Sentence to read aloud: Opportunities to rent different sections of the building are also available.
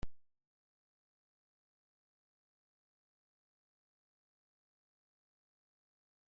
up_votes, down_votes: 0, 2